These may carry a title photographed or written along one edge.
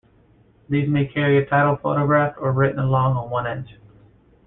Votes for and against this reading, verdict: 2, 1, accepted